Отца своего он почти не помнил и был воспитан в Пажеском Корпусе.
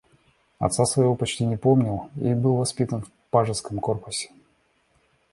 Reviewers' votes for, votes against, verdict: 2, 0, accepted